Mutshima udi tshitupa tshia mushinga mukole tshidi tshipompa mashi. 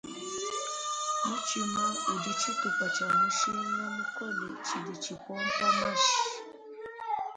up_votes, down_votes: 1, 2